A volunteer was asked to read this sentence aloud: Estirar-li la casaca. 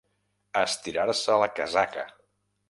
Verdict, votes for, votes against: rejected, 0, 2